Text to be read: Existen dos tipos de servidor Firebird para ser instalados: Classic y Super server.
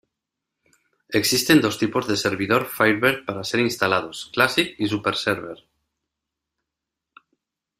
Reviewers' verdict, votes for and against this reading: accepted, 2, 0